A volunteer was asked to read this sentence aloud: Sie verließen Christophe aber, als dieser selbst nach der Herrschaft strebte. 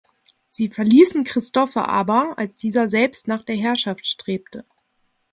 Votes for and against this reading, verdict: 2, 0, accepted